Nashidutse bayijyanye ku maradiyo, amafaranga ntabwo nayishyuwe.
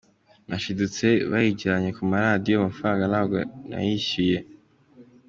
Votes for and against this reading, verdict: 2, 0, accepted